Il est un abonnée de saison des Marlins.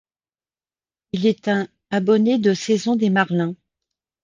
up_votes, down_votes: 1, 2